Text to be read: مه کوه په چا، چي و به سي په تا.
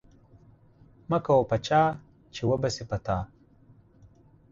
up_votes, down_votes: 4, 0